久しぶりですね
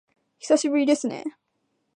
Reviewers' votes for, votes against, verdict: 3, 0, accepted